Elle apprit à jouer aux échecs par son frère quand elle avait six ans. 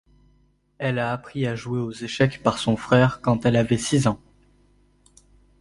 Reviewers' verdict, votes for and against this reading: accepted, 2, 1